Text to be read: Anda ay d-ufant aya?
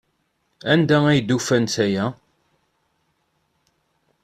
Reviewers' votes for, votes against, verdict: 2, 0, accepted